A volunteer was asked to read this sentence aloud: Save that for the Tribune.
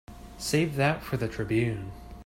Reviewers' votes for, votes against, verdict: 3, 0, accepted